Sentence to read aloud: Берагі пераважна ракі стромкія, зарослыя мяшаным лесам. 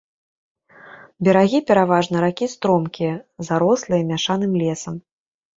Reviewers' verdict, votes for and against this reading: accepted, 3, 0